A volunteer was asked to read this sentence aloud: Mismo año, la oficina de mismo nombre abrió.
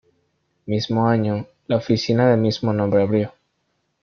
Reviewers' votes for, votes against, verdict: 1, 2, rejected